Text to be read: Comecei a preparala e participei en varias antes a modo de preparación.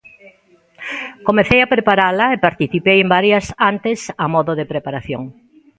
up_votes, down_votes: 2, 0